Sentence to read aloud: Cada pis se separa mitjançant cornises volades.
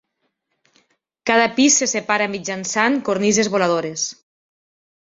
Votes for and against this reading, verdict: 0, 2, rejected